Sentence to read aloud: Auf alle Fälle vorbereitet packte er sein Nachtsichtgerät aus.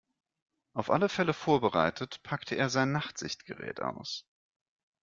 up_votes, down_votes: 2, 0